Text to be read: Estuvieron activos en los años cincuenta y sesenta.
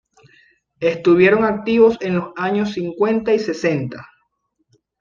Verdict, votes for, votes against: accepted, 2, 0